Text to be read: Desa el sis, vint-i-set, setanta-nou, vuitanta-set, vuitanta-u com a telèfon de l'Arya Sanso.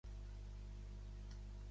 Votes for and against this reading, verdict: 0, 2, rejected